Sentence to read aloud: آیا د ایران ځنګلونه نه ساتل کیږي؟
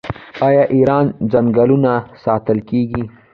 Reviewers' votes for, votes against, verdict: 1, 2, rejected